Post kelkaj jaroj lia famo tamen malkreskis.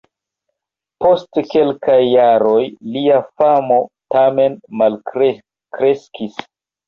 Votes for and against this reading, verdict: 1, 2, rejected